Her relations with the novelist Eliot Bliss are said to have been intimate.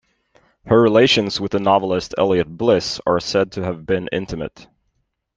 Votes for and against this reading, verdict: 2, 0, accepted